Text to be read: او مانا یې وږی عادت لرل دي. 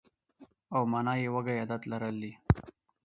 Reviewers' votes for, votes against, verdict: 4, 0, accepted